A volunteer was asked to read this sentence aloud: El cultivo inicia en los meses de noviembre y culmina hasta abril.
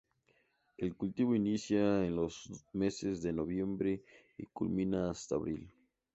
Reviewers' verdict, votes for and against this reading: accepted, 2, 0